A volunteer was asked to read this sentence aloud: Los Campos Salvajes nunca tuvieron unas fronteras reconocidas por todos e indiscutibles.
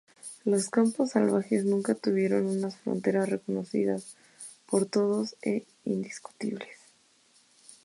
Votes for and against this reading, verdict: 0, 2, rejected